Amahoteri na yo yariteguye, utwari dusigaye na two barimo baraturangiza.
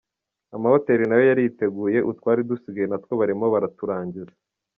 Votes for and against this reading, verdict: 2, 0, accepted